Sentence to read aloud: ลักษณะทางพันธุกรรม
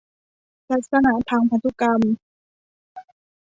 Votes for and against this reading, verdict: 2, 0, accepted